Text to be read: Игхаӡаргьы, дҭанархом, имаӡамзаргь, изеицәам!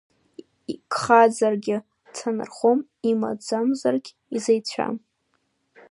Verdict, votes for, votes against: rejected, 0, 2